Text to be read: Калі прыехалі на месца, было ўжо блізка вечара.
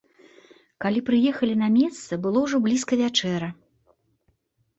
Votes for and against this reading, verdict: 1, 2, rejected